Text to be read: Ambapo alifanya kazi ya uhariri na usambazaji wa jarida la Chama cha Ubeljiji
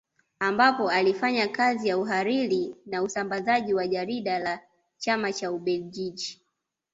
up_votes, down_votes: 2, 0